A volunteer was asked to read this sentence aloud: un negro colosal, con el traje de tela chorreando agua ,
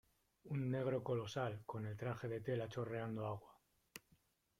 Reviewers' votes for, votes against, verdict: 1, 2, rejected